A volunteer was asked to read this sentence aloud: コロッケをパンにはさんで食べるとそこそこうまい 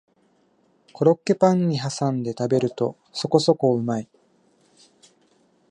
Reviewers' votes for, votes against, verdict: 1, 2, rejected